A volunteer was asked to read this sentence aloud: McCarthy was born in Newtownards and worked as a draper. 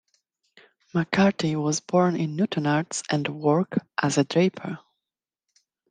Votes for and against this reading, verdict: 1, 2, rejected